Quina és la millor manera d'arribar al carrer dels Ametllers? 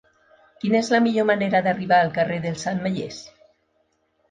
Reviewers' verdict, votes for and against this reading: accepted, 3, 0